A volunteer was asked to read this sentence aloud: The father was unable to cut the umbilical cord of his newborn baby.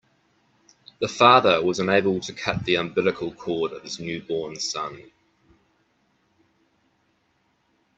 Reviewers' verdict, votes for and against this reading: rejected, 0, 2